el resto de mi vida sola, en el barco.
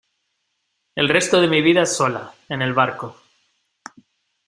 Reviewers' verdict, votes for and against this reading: accepted, 2, 0